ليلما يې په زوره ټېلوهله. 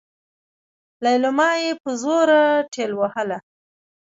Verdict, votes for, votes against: rejected, 0, 2